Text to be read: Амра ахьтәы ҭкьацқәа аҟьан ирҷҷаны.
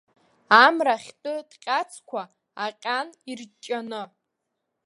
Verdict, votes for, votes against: rejected, 0, 2